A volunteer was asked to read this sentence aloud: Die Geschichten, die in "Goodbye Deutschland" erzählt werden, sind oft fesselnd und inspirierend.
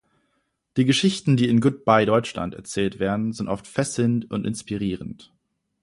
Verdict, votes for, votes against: accepted, 2, 0